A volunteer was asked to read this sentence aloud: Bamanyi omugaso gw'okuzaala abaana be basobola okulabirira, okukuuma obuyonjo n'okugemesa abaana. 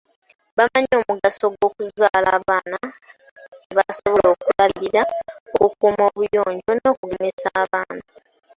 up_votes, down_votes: 0, 2